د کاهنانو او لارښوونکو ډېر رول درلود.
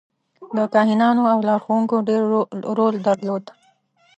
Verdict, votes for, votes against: rejected, 0, 2